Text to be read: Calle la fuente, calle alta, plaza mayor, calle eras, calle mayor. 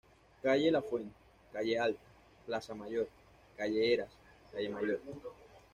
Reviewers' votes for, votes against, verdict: 2, 0, accepted